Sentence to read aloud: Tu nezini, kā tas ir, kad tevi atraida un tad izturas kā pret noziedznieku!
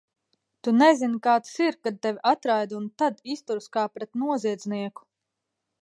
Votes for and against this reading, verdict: 2, 0, accepted